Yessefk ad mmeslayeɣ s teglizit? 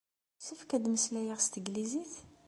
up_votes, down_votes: 2, 0